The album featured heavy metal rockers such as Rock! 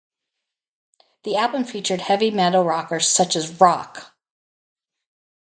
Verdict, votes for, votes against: accepted, 4, 0